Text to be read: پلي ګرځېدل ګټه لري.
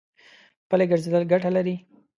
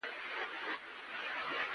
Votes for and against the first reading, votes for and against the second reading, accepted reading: 2, 0, 1, 2, first